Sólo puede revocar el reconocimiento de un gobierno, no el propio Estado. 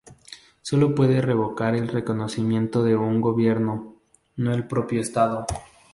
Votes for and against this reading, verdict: 0, 2, rejected